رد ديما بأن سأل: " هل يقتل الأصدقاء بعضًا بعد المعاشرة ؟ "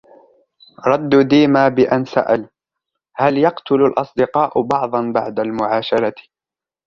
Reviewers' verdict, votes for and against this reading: accepted, 2, 0